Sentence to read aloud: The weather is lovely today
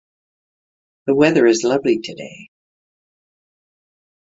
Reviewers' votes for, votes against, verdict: 3, 3, rejected